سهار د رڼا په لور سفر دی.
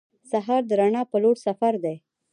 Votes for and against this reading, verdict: 0, 2, rejected